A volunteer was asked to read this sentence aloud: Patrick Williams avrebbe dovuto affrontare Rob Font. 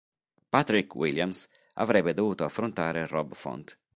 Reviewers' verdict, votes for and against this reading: accepted, 4, 0